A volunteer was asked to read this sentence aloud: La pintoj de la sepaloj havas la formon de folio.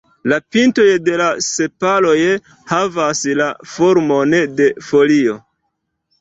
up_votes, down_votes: 0, 2